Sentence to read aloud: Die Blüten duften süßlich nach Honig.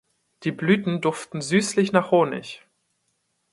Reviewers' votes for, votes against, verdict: 2, 0, accepted